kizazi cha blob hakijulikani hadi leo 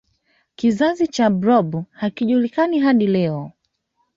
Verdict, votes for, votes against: accepted, 2, 1